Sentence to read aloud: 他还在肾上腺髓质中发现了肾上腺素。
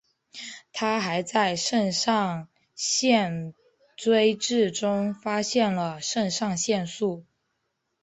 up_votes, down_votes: 0, 3